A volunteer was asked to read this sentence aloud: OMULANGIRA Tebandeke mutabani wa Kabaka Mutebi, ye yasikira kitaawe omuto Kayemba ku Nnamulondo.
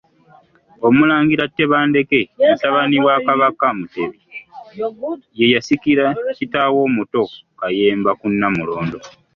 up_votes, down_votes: 1, 2